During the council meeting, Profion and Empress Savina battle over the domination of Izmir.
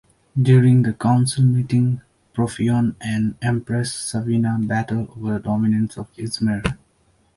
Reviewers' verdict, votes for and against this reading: accepted, 2, 1